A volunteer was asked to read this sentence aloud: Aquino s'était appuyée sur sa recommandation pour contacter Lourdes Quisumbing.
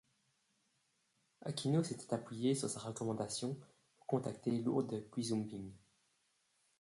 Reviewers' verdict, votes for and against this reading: accepted, 2, 1